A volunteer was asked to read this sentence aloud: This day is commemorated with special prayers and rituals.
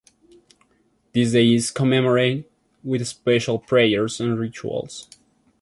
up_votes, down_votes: 2, 0